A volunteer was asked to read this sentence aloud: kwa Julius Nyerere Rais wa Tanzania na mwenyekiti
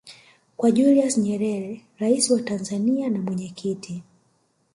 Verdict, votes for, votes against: accepted, 2, 1